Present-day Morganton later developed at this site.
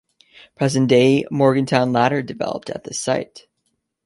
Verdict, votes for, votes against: accepted, 2, 1